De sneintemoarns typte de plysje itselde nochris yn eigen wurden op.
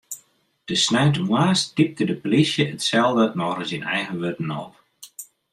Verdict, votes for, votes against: rejected, 1, 2